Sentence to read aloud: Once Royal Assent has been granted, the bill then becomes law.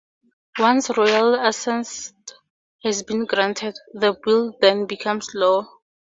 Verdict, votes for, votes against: rejected, 0, 2